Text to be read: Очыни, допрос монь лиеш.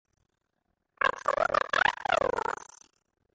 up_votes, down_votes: 0, 2